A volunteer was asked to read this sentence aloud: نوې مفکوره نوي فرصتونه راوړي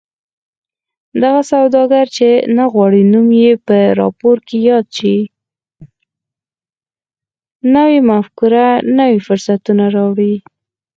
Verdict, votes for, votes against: accepted, 4, 2